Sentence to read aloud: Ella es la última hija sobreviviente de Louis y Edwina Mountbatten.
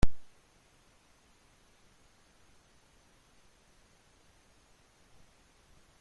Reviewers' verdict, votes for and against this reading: rejected, 1, 2